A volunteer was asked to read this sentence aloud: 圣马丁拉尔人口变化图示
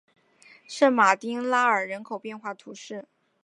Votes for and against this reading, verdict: 3, 0, accepted